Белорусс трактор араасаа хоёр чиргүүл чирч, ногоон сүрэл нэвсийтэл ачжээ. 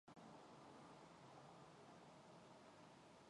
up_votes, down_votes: 0, 2